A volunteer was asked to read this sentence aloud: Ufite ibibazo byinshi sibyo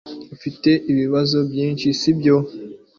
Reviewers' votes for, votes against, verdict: 2, 0, accepted